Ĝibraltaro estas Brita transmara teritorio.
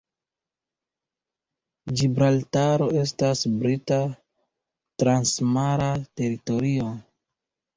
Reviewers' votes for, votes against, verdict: 2, 0, accepted